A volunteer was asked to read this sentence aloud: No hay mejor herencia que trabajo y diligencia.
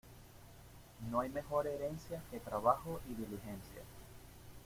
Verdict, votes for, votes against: accepted, 2, 0